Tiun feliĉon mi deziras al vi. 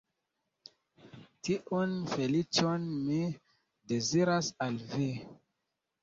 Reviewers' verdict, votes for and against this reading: accepted, 2, 0